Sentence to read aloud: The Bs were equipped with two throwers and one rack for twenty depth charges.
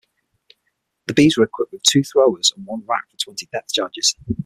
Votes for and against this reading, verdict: 3, 6, rejected